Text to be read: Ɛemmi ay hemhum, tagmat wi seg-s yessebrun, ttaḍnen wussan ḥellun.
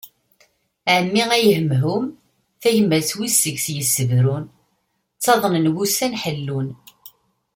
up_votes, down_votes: 2, 0